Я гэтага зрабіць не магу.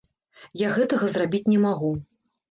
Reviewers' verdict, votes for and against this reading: accepted, 2, 0